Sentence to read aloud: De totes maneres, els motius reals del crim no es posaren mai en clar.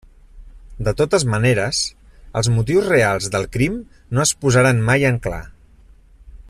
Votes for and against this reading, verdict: 0, 2, rejected